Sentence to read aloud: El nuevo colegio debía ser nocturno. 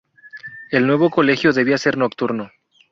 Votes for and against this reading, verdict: 0, 2, rejected